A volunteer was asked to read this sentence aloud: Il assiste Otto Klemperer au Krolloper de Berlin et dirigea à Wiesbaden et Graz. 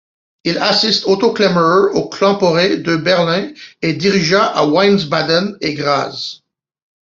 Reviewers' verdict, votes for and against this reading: rejected, 1, 2